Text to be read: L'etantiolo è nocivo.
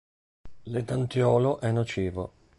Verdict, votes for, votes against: accepted, 2, 1